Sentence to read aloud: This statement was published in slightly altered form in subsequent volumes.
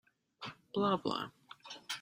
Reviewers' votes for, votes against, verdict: 0, 2, rejected